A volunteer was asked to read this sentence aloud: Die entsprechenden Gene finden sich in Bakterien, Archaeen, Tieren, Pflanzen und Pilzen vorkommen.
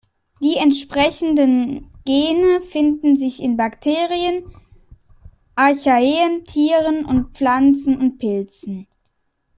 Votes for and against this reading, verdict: 1, 2, rejected